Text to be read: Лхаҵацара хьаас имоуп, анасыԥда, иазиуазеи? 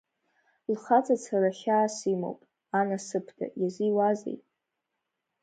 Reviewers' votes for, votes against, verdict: 1, 2, rejected